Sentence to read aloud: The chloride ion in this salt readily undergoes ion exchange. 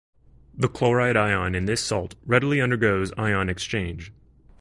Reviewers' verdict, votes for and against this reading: accepted, 2, 0